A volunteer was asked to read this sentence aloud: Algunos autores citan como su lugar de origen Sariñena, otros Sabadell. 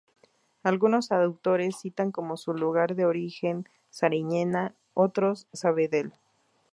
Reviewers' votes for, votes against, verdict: 0, 2, rejected